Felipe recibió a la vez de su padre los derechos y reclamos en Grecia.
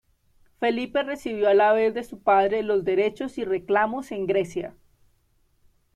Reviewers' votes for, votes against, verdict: 1, 2, rejected